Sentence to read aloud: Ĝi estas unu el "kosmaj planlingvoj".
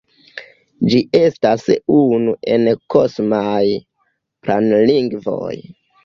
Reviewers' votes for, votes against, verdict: 2, 1, accepted